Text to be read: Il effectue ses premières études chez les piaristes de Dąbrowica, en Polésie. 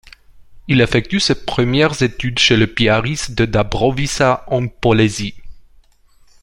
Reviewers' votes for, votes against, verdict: 2, 1, accepted